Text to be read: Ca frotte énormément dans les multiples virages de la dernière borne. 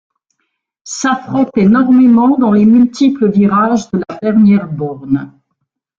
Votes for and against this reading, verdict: 0, 2, rejected